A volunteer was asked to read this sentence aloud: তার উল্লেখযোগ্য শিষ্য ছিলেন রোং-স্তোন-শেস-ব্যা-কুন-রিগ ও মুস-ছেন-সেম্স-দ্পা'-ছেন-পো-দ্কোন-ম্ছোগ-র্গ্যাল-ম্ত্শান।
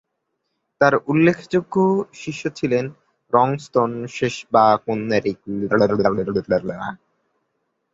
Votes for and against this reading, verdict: 0, 2, rejected